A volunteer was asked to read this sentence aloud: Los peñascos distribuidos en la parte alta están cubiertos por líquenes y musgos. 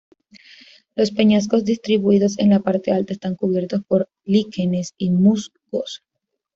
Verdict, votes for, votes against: rejected, 0, 2